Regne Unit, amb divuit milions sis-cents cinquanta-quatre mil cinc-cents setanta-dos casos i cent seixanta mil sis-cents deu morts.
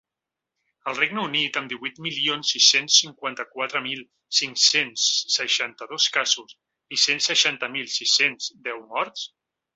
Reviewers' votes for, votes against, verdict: 0, 2, rejected